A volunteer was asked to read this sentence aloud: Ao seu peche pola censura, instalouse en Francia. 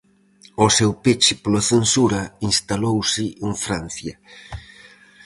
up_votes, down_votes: 4, 0